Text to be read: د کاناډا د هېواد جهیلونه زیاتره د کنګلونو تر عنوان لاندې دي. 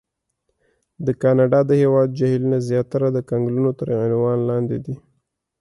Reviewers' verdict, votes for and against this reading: accepted, 3, 0